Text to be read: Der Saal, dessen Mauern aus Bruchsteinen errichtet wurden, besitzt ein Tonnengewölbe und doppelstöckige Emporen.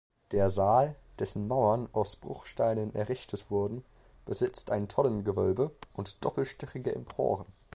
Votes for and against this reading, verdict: 1, 2, rejected